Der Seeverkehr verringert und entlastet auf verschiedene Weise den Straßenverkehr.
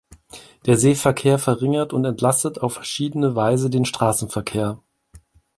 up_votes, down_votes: 2, 0